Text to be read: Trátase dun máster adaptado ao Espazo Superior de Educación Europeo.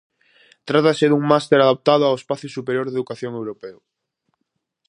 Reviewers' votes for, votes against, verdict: 4, 0, accepted